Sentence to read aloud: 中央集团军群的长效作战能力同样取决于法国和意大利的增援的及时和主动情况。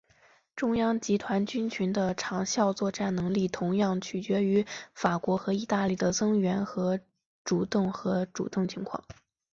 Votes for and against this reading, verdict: 1, 4, rejected